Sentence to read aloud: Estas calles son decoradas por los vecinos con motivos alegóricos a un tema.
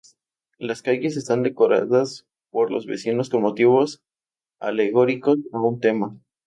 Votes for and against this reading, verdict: 0, 2, rejected